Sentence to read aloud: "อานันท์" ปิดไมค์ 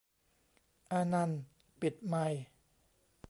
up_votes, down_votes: 2, 0